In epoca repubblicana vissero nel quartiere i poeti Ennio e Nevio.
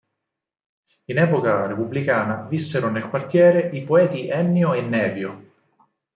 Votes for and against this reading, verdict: 4, 0, accepted